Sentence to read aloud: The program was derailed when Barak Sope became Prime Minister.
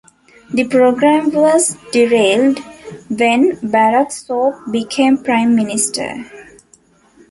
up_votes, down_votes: 2, 0